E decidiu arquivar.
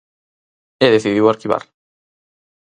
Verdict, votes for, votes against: accepted, 4, 0